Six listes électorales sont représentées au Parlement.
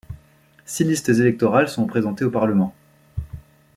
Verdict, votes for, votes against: rejected, 1, 2